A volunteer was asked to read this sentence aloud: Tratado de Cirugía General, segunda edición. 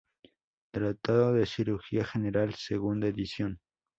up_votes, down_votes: 2, 0